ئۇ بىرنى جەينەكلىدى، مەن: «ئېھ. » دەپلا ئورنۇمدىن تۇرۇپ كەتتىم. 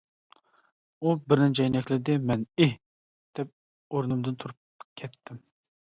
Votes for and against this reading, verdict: 0, 2, rejected